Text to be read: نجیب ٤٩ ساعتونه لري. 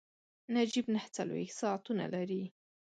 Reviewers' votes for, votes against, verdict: 0, 2, rejected